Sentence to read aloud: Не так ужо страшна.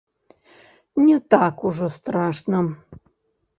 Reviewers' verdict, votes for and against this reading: rejected, 0, 2